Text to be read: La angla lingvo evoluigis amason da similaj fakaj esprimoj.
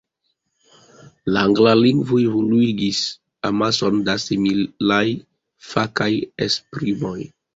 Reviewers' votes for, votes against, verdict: 2, 0, accepted